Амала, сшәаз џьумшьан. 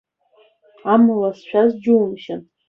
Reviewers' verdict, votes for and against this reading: accepted, 3, 1